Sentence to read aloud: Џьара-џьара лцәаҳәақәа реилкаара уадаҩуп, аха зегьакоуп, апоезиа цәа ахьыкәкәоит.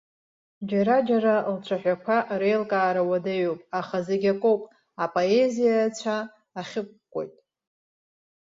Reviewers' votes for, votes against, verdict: 0, 2, rejected